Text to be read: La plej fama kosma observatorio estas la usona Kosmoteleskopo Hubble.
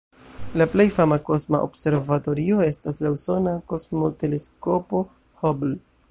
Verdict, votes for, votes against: rejected, 1, 2